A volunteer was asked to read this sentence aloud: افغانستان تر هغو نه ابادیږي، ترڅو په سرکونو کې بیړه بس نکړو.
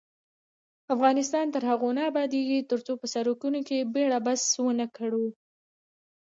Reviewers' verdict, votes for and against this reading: rejected, 1, 2